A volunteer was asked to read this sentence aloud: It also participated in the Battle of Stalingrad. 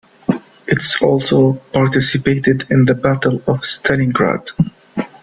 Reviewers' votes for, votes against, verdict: 0, 2, rejected